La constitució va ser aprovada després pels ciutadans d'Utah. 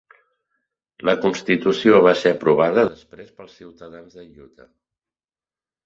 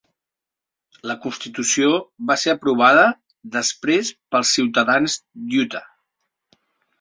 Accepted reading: second